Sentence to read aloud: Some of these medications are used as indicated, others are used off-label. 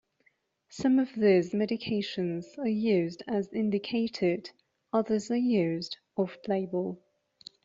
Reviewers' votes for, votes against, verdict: 2, 1, accepted